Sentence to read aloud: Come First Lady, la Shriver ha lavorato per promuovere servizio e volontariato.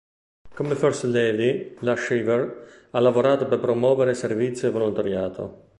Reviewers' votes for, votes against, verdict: 1, 2, rejected